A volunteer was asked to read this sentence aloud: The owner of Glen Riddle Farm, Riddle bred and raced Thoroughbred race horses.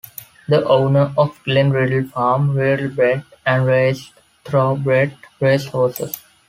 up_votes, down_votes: 1, 2